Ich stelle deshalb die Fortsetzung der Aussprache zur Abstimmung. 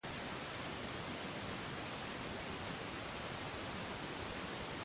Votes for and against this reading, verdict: 0, 2, rejected